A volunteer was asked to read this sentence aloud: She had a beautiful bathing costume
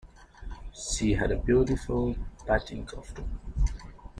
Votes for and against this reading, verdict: 0, 2, rejected